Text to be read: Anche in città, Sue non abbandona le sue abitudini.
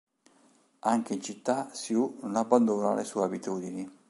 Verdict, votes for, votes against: accepted, 2, 0